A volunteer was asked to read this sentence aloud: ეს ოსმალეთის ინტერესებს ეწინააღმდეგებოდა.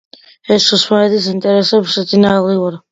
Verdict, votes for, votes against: rejected, 1, 2